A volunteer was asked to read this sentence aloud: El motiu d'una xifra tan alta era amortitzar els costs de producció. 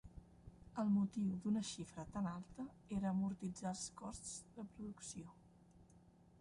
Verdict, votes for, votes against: rejected, 0, 2